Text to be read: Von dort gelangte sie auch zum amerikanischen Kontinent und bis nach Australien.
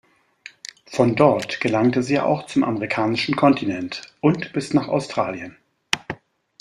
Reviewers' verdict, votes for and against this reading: accepted, 2, 0